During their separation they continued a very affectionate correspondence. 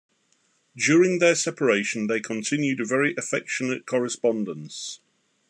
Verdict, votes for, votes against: accepted, 2, 0